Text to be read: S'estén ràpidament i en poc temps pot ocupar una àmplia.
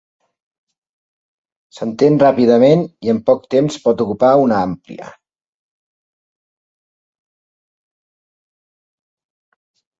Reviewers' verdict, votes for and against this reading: rejected, 0, 2